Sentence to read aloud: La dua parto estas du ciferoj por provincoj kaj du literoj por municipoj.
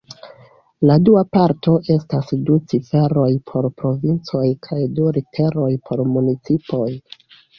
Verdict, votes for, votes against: accepted, 2, 0